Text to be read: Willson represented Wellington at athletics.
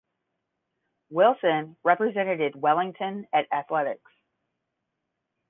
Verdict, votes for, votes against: rejected, 5, 10